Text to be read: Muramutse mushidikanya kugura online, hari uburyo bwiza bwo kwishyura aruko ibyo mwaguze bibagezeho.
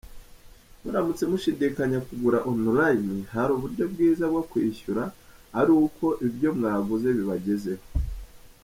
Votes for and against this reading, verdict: 3, 0, accepted